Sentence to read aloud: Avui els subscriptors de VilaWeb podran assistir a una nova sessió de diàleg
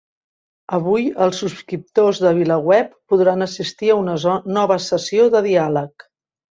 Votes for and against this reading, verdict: 2, 3, rejected